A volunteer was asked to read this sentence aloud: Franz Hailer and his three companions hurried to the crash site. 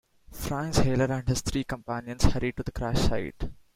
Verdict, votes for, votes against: accepted, 2, 0